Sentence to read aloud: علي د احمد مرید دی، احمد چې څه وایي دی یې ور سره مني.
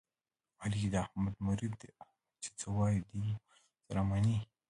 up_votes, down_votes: 0, 2